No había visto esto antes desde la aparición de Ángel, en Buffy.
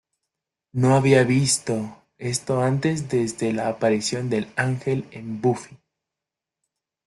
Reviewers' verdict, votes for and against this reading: rejected, 0, 2